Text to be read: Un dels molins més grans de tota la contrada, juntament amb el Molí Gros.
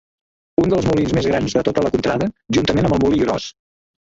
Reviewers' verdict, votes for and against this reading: rejected, 1, 2